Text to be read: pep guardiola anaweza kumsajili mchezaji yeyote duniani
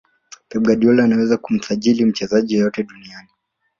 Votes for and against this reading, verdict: 2, 0, accepted